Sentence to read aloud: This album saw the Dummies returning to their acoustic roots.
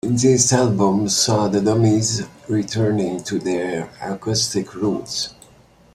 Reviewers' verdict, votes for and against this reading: accepted, 2, 0